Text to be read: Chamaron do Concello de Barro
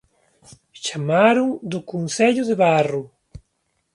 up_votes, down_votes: 2, 0